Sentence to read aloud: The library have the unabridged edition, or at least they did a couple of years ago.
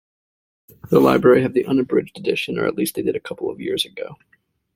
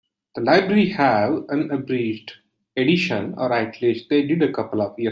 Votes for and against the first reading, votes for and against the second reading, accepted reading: 2, 0, 0, 2, first